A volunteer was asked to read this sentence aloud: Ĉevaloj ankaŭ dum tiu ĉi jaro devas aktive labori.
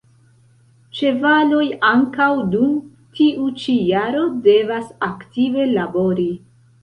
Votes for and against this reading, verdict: 2, 1, accepted